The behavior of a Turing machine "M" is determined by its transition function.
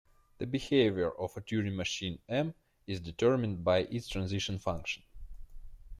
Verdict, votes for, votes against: rejected, 0, 2